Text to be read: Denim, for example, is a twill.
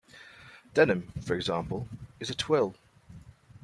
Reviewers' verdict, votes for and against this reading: accepted, 2, 0